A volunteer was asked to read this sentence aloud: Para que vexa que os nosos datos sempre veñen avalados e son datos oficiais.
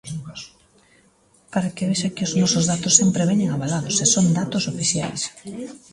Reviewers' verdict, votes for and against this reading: accepted, 2, 0